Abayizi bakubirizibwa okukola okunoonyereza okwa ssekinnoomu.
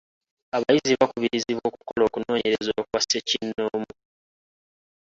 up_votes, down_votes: 0, 2